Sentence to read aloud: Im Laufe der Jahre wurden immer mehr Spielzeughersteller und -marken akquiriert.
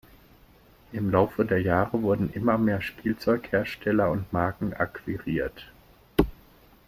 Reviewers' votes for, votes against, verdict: 2, 0, accepted